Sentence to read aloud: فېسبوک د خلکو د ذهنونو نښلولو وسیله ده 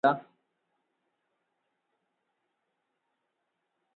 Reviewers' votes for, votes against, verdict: 0, 2, rejected